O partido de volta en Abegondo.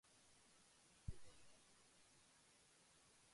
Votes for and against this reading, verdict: 0, 2, rejected